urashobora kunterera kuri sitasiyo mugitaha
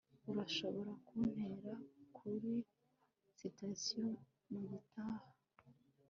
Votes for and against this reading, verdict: 0, 3, rejected